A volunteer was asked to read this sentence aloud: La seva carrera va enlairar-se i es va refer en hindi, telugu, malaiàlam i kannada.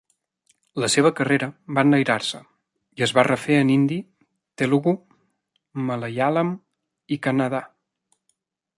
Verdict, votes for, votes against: rejected, 1, 2